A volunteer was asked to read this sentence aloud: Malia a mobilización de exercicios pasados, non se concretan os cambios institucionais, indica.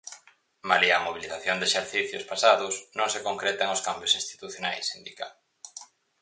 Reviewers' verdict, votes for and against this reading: accepted, 4, 0